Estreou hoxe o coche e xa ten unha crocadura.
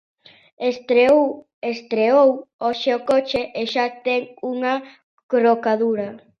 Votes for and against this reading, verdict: 0, 2, rejected